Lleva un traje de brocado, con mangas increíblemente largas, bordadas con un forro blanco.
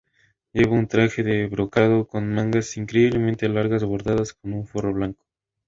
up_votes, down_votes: 2, 0